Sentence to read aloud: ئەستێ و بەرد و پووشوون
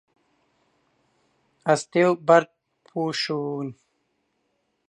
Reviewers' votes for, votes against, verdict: 0, 2, rejected